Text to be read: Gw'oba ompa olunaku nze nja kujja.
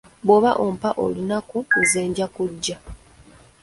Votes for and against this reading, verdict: 2, 0, accepted